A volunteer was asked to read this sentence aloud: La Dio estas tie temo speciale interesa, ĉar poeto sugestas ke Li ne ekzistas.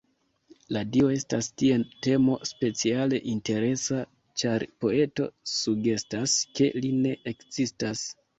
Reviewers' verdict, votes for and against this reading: rejected, 1, 2